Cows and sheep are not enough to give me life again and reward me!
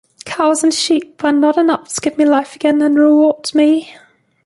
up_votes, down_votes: 2, 0